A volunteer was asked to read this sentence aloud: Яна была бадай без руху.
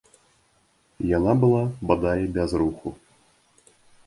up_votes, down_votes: 2, 1